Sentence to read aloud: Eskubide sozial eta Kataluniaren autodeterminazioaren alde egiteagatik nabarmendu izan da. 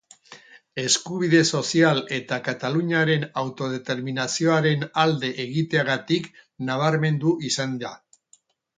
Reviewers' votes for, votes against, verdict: 2, 0, accepted